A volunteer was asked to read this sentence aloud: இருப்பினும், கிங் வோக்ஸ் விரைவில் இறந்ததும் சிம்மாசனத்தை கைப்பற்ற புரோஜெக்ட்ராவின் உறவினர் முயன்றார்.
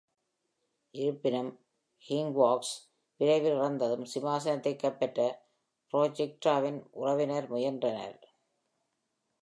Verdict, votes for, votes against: rejected, 0, 2